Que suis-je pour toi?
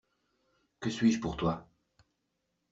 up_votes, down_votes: 2, 0